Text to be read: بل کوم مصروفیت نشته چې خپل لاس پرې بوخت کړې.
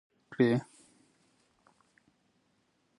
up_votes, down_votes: 0, 2